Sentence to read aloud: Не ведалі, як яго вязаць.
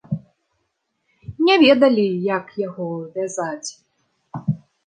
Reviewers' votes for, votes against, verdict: 2, 0, accepted